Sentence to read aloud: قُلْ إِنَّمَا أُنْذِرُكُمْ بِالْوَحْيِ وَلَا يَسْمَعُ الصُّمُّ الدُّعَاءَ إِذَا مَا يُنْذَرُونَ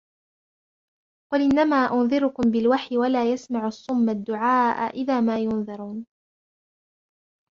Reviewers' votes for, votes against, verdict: 1, 2, rejected